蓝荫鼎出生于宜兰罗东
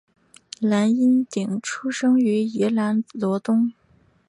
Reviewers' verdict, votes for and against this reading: accepted, 4, 1